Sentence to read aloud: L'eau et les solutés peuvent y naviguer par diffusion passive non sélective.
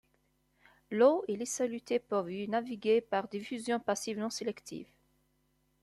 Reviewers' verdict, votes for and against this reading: accepted, 2, 0